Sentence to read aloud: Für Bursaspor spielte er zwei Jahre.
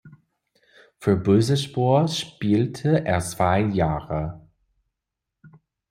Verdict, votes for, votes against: rejected, 1, 2